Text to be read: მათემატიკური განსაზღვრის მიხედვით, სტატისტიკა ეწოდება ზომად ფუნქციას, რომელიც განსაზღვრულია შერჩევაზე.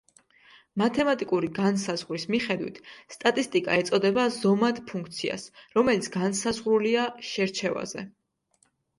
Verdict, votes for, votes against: accepted, 2, 0